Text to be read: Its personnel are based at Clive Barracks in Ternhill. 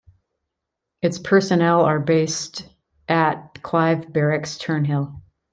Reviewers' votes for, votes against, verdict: 1, 2, rejected